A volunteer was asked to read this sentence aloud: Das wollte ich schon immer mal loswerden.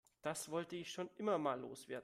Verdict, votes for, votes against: accepted, 2, 0